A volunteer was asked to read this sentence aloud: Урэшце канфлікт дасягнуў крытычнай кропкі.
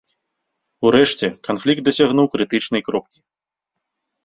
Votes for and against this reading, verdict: 1, 2, rejected